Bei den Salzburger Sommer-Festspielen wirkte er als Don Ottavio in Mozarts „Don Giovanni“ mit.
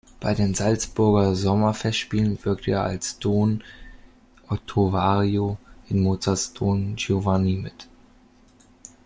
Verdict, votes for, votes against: rejected, 1, 2